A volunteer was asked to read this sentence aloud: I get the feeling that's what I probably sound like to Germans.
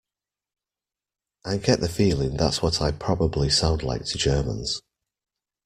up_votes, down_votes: 2, 1